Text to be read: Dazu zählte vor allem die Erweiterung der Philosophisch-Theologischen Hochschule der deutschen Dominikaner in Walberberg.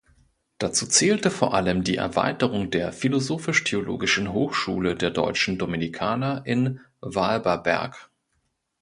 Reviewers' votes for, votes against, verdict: 2, 0, accepted